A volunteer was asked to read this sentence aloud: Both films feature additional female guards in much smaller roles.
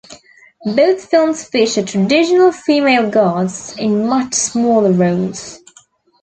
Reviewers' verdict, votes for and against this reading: accepted, 2, 0